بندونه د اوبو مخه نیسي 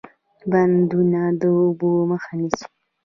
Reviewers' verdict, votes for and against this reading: rejected, 1, 2